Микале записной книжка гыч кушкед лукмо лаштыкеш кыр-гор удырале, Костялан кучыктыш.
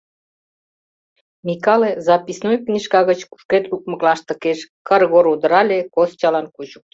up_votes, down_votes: 0, 2